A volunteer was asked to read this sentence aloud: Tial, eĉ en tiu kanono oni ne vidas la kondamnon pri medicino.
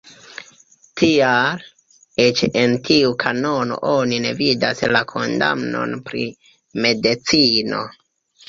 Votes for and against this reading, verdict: 2, 1, accepted